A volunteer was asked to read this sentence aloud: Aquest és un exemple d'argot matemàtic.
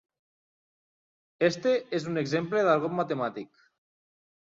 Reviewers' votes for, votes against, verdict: 0, 2, rejected